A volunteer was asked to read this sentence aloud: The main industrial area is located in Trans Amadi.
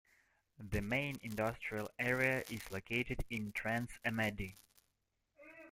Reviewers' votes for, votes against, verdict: 2, 0, accepted